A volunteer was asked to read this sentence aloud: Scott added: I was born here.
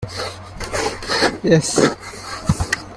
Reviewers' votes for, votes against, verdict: 0, 2, rejected